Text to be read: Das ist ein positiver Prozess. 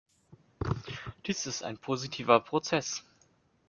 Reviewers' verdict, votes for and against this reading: rejected, 0, 2